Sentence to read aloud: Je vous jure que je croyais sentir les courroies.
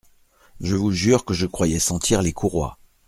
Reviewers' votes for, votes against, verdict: 2, 0, accepted